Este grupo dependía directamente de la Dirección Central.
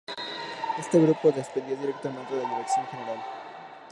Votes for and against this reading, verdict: 0, 2, rejected